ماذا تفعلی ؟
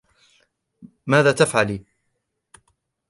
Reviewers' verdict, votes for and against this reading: accepted, 2, 0